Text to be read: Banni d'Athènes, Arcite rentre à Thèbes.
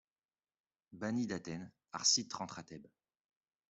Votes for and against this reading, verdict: 2, 0, accepted